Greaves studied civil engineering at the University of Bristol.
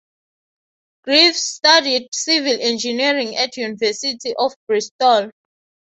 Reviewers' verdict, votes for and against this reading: rejected, 3, 3